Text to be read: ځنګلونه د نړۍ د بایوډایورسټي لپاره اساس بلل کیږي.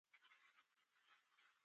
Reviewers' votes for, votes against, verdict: 0, 2, rejected